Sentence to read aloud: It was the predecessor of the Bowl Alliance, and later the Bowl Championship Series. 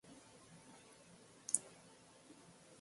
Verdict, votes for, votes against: rejected, 0, 3